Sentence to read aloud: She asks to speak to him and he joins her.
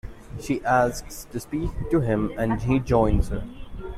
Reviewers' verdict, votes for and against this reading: accepted, 2, 0